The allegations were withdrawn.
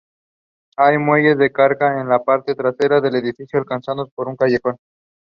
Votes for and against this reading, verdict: 0, 2, rejected